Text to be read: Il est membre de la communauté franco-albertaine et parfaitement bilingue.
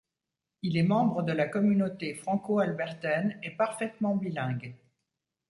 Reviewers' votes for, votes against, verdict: 2, 0, accepted